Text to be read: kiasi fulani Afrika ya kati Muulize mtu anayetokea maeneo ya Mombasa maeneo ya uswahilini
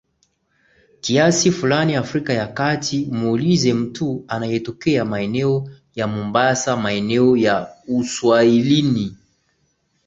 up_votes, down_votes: 7, 0